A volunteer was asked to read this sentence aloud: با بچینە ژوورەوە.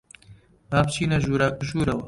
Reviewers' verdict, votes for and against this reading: rejected, 1, 2